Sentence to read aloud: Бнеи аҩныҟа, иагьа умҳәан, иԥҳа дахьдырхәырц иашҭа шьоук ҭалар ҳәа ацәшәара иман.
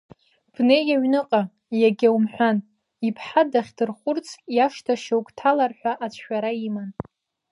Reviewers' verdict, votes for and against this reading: accepted, 2, 0